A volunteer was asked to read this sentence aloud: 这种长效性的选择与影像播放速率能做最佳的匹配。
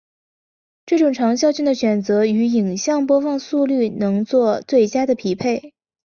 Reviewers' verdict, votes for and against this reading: accepted, 3, 0